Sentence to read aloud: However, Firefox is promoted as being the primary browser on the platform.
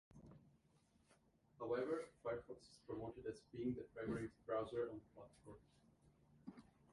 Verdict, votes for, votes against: rejected, 0, 2